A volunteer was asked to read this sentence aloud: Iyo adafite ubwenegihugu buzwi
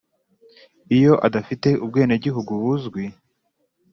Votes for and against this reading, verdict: 2, 0, accepted